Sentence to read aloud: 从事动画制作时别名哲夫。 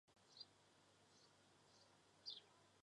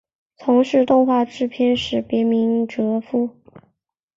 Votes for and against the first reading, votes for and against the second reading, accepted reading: 0, 4, 2, 0, second